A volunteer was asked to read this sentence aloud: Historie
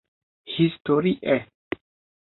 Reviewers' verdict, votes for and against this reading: accepted, 2, 0